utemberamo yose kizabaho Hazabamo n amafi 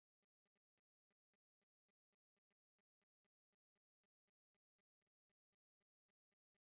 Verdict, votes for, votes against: rejected, 1, 2